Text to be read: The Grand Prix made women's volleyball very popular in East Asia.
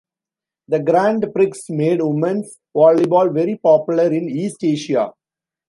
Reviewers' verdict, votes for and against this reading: accepted, 2, 0